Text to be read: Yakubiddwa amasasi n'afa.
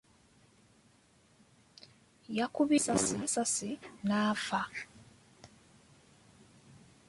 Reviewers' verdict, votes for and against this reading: rejected, 0, 2